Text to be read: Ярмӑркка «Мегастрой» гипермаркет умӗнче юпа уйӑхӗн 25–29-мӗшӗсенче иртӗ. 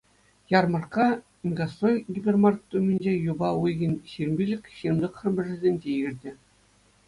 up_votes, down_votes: 0, 2